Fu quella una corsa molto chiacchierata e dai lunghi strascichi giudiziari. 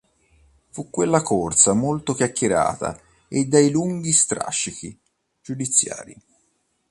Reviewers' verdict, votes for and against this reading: rejected, 1, 3